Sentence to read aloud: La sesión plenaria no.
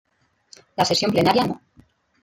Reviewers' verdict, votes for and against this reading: accepted, 2, 0